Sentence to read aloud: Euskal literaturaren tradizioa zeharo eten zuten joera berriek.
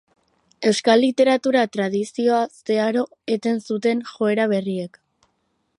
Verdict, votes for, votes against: rejected, 0, 4